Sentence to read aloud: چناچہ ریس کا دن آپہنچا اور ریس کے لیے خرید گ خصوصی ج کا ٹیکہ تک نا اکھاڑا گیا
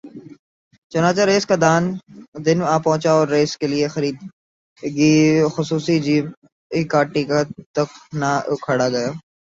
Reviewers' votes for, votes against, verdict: 0, 3, rejected